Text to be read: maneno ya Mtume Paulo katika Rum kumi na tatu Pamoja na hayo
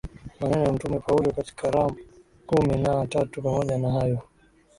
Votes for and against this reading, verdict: 3, 2, accepted